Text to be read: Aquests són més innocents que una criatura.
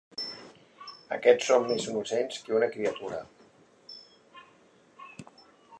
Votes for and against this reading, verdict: 2, 0, accepted